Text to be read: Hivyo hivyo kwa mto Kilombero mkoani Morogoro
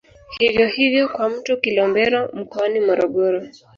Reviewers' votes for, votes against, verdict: 0, 2, rejected